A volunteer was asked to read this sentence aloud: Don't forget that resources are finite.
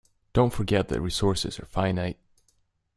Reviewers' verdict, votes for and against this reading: accepted, 2, 1